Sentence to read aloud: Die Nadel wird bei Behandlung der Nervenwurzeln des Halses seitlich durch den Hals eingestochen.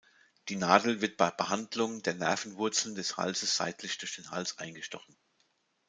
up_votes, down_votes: 2, 0